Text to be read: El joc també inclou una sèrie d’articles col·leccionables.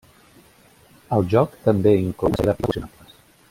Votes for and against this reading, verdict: 0, 2, rejected